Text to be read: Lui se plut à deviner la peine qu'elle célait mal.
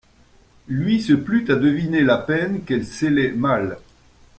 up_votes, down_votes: 2, 1